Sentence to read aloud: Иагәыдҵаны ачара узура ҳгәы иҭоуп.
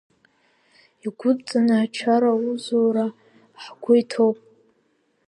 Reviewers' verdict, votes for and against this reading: rejected, 1, 2